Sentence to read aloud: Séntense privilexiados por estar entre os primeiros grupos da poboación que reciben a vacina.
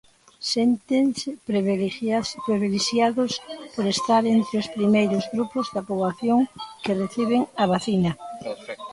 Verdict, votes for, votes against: rejected, 0, 2